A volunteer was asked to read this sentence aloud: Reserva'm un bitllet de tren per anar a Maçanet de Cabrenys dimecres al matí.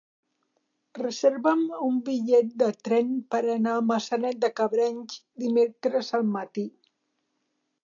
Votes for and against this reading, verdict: 2, 0, accepted